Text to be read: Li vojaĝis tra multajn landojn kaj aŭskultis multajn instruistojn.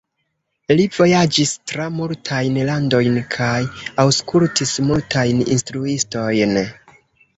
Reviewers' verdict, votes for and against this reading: accepted, 2, 0